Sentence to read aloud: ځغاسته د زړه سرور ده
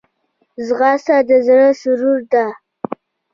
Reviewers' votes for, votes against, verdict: 0, 2, rejected